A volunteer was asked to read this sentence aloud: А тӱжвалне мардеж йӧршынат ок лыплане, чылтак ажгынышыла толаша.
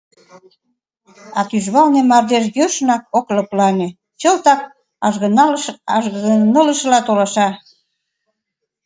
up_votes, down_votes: 0, 2